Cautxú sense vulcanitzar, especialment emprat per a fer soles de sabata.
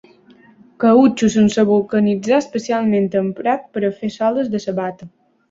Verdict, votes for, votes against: accepted, 2, 0